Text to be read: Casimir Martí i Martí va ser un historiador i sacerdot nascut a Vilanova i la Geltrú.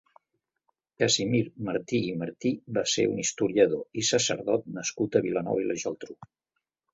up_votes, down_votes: 3, 0